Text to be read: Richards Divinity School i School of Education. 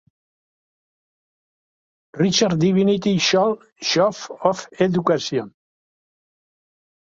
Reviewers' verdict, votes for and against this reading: rejected, 1, 2